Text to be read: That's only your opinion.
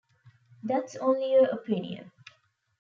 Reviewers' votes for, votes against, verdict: 2, 0, accepted